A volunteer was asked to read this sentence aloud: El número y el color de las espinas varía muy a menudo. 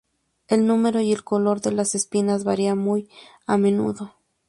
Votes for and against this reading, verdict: 0, 2, rejected